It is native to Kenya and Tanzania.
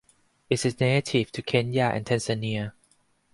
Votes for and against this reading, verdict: 4, 0, accepted